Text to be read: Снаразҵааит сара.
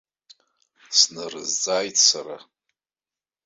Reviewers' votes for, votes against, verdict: 0, 2, rejected